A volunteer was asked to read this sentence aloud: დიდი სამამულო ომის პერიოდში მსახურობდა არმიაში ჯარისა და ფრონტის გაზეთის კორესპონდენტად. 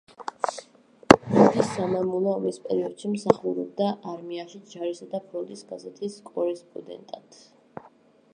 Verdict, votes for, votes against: rejected, 1, 2